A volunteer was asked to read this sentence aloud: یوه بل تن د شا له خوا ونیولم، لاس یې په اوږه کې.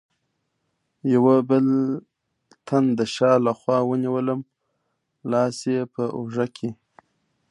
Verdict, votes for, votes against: rejected, 0, 2